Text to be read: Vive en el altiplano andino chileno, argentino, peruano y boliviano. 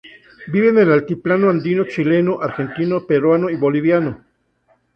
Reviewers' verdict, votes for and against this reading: accepted, 2, 0